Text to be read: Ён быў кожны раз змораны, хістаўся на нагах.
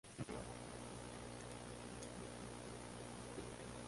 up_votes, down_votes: 0, 2